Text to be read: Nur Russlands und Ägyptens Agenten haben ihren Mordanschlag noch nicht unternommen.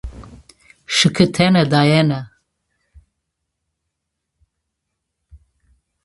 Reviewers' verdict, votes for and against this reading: rejected, 0, 2